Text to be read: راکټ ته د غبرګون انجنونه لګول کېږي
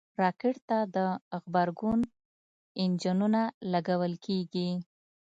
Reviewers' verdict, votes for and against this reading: accepted, 2, 1